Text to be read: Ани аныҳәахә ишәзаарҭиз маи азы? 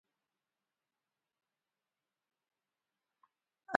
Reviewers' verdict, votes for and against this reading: rejected, 0, 2